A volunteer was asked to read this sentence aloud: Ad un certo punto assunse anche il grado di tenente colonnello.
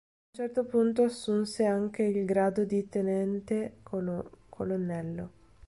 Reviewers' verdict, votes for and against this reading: rejected, 0, 2